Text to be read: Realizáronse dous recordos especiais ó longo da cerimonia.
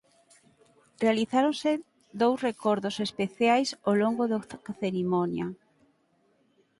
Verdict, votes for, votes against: rejected, 2, 4